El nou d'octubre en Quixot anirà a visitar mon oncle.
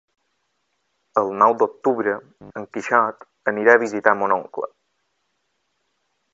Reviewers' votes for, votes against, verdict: 2, 0, accepted